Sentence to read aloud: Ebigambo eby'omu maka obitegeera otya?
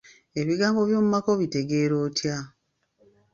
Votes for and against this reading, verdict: 1, 2, rejected